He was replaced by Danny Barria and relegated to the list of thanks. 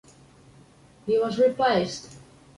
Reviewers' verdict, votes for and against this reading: rejected, 0, 2